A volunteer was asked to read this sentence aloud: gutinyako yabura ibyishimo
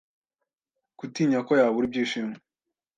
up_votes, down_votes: 2, 0